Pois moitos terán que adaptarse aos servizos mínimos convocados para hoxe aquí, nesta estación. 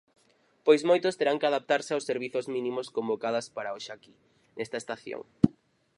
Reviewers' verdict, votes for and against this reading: rejected, 2, 2